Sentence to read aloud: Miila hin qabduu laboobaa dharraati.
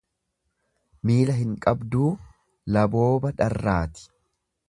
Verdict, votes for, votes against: rejected, 1, 2